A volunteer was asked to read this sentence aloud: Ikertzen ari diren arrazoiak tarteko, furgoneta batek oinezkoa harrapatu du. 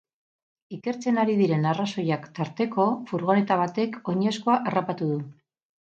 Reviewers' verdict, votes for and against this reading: accepted, 2, 0